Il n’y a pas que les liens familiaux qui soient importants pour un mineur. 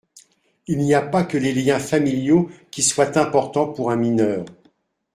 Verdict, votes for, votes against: accepted, 2, 0